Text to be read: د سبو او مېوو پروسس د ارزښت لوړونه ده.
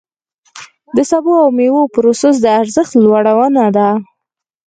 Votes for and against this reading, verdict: 4, 2, accepted